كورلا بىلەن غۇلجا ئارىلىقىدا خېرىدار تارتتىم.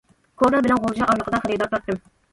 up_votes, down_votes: 1, 2